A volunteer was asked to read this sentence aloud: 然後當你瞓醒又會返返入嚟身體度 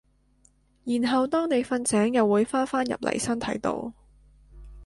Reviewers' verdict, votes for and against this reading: accepted, 3, 0